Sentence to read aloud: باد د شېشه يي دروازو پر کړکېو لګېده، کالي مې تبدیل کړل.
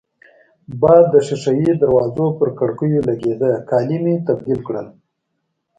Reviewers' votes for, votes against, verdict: 2, 0, accepted